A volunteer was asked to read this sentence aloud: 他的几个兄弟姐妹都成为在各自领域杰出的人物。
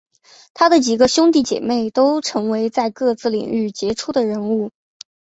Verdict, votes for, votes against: accepted, 6, 1